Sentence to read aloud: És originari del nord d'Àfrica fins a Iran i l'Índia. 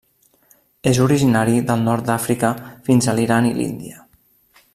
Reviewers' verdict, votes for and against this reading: rejected, 0, 2